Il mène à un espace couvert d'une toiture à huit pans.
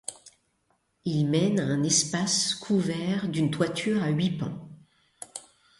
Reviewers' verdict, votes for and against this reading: accepted, 2, 1